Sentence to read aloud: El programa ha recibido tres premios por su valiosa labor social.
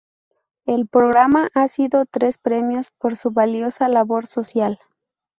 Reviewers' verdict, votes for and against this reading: rejected, 0, 2